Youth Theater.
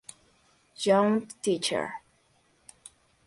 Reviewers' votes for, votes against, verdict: 0, 2, rejected